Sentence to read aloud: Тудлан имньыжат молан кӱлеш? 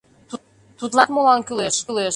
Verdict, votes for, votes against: rejected, 0, 2